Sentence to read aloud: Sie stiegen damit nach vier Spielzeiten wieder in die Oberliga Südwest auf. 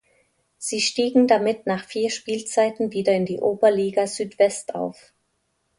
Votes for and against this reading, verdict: 2, 0, accepted